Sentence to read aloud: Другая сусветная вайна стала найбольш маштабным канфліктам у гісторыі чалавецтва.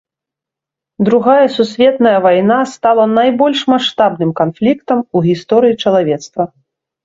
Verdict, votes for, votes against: accepted, 2, 0